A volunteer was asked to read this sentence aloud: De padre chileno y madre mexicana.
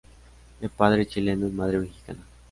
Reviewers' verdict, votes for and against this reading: rejected, 0, 2